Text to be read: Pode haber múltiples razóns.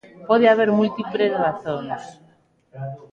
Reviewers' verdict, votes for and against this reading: rejected, 0, 2